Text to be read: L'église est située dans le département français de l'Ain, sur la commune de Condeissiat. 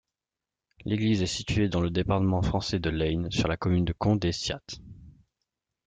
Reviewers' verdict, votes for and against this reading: rejected, 1, 2